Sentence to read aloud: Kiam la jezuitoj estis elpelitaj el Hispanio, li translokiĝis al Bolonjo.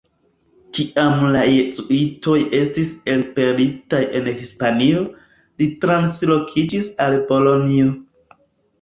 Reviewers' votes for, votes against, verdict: 3, 1, accepted